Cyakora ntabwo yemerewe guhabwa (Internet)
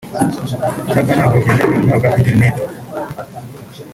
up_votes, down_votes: 1, 4